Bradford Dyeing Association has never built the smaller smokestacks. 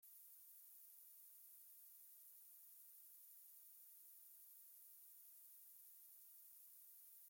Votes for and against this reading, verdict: 0, 2, rejected